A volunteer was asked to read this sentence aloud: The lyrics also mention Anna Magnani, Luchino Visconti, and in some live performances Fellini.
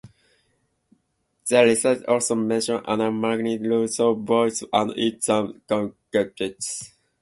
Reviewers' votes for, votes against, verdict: 0, 2, rejected